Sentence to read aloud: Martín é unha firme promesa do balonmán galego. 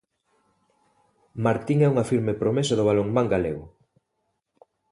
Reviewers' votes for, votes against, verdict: 31, 1, accepted